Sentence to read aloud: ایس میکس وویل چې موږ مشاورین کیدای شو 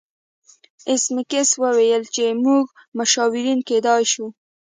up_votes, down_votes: 2, 0